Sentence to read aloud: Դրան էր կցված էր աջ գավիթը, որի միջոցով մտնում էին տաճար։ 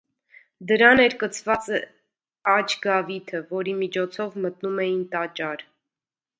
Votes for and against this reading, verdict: 1, 2, rejected